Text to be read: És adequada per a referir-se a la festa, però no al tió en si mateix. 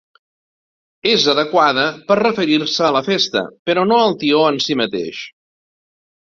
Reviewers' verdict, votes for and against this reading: rejected, 1, 2